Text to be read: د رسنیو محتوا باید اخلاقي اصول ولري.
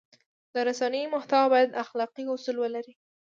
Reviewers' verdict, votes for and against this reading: accepted, 2, 1